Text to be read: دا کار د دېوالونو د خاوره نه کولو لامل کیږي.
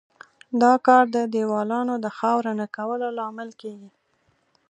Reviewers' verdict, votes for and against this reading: rejected, 2, 3